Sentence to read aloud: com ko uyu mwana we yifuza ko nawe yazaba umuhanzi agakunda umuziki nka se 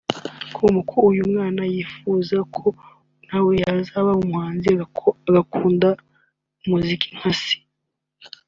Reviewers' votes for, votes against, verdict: 1, 2, rejected